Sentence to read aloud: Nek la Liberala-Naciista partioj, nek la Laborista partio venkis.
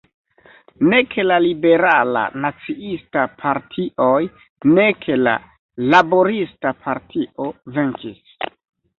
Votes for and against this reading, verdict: 2, 0, accepted